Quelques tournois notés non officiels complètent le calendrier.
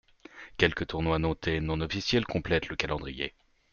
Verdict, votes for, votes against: accepted, 2, 0